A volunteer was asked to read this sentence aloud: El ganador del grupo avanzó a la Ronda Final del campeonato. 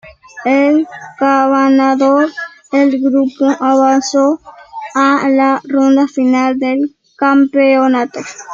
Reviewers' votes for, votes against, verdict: 0, 2, rejected